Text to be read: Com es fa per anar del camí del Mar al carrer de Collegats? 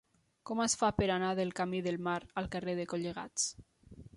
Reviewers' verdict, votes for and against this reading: accepted, 3, 0